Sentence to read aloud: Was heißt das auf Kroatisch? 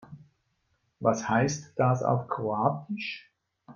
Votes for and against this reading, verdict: 3, 0, accepted